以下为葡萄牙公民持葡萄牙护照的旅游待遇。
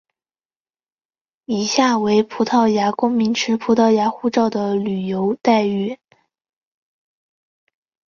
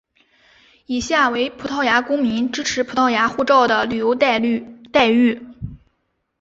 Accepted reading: first